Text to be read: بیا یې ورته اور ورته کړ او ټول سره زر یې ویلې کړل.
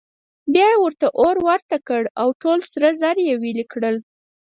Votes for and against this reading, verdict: 0, 4, rejected